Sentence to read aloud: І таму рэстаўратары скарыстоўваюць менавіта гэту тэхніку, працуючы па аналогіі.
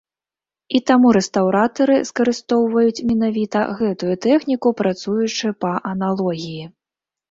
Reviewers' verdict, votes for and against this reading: rejected, 0, 2